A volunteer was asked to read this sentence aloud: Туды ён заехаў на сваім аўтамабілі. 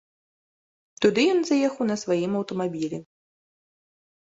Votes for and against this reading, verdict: 2, 0, accepted